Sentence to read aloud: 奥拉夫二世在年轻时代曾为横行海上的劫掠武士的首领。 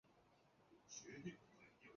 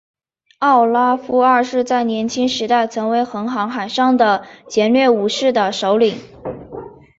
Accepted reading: second